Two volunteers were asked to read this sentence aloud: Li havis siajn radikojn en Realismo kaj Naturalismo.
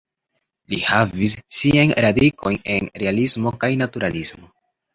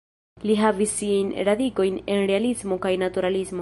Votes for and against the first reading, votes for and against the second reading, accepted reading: 2, 0, 1, 2, first